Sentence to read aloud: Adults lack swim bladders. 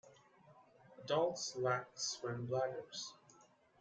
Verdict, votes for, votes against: rejected, 1, 2